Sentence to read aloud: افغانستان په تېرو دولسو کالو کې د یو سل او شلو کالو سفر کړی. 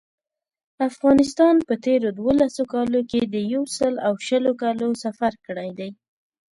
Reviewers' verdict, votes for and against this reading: accepted, 2, 0